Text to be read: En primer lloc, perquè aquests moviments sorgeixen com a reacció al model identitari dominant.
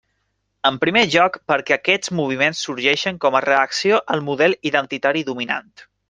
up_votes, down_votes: 2, 0